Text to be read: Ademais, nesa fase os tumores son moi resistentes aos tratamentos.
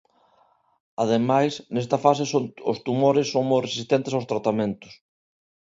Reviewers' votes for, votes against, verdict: 0, 2, rejected